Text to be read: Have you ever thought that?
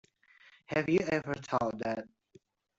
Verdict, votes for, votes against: rejected, 1, 2